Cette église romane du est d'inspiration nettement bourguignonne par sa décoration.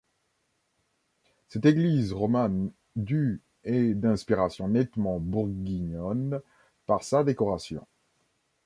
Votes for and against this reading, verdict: 1, 2, rejected